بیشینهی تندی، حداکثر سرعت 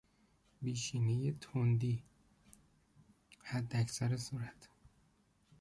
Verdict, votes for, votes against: accepted, 2, 1